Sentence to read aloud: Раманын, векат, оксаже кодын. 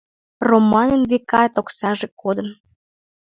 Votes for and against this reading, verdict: 0, 2, rejected